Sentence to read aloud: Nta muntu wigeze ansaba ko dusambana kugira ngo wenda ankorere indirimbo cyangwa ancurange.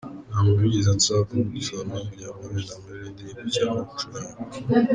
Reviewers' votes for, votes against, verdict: 0, 2, rejected